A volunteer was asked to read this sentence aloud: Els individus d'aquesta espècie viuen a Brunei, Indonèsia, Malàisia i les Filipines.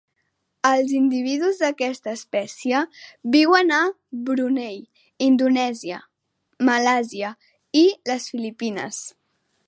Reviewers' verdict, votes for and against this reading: rejected, 1, 2